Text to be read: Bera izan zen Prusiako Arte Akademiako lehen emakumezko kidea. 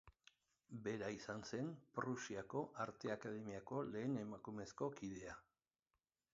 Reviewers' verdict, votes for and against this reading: rejected, 0, 2